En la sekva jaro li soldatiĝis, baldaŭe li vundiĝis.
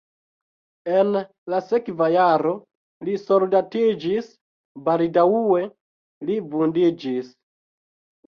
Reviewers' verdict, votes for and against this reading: rejected, 1, 2